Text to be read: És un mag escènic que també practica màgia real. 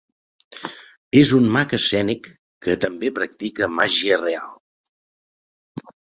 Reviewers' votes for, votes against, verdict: 2, 0, accepted